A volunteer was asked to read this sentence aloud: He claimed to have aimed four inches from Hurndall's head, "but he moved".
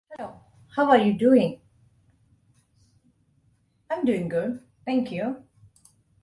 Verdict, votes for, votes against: rejected, 0, 2